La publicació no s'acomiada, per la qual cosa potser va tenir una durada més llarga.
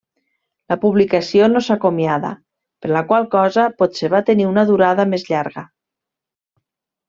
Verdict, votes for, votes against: accepted, 3, 0